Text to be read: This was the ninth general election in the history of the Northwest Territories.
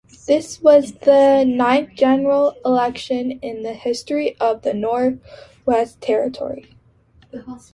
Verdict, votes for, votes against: accepted, 2, 1